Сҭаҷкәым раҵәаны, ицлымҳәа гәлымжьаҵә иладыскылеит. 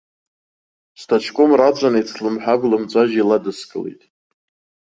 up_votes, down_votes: 0, 2